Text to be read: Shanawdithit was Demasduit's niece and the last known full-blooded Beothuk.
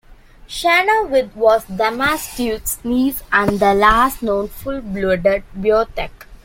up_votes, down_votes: 0, 2